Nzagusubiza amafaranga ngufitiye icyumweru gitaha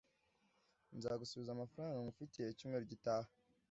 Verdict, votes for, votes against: rejected, 1, 2